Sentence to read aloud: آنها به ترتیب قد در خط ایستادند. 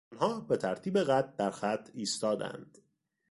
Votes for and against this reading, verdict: 1, 3, rejected